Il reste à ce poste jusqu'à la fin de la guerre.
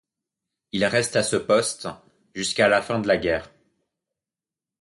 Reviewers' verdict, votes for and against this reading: accepted, 2, 0